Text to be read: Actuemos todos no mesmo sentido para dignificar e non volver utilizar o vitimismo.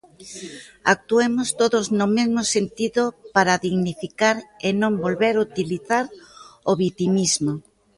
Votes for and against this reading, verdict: 1, 2, rejected